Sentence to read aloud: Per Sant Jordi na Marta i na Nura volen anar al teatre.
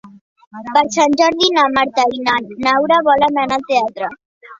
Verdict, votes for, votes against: rejected, 0, 2